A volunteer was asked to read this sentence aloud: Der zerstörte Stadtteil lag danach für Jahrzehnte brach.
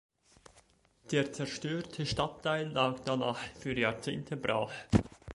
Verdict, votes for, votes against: accepted, 2, 0